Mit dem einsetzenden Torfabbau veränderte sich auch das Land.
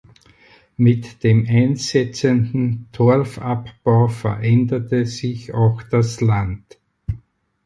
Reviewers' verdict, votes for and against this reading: accepted, 4, 0